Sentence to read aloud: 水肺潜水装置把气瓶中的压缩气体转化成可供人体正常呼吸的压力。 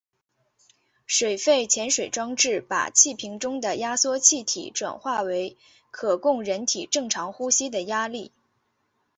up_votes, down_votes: 1, 2